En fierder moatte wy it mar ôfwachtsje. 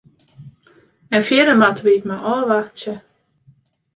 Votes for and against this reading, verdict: 2, 0, accepted